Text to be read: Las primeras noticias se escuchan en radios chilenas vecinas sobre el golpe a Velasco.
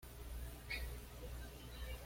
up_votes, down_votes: 1, 2